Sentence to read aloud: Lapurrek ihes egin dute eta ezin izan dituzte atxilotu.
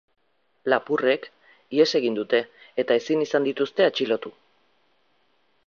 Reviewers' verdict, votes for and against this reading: accepted, 4, 0